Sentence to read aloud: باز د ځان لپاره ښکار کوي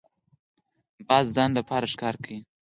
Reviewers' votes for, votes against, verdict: 4, 0, accepted